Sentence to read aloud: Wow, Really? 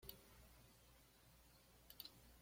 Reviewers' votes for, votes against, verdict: 1, 2, rejected